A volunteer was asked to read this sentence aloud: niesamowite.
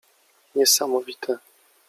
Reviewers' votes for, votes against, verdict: 2, 0, accepted